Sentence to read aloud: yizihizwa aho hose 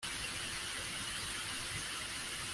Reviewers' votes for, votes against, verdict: 0, 2, rejected